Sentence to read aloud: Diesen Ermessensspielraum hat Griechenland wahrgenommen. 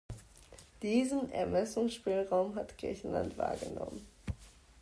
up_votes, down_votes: 2, 0